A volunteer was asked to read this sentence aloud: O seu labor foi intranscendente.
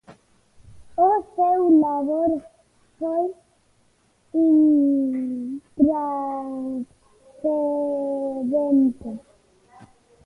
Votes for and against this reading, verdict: 0, 2, rejected